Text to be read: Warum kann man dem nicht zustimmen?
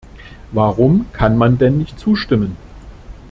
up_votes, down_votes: 0, 2